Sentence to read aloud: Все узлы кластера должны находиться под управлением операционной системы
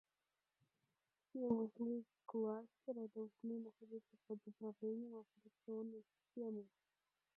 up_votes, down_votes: 0, 2